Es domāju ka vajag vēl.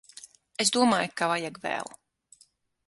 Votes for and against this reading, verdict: 9, 0, accepted